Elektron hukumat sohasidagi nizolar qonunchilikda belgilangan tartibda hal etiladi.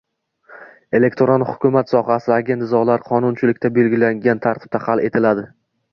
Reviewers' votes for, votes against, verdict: 2, 0, accepted